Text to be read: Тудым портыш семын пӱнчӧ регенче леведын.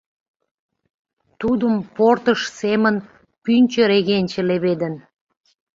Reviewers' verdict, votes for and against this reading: accepted, 2, 0